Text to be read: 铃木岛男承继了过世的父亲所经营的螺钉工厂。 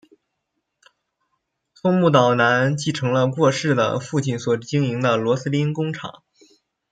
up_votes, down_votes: 0, 2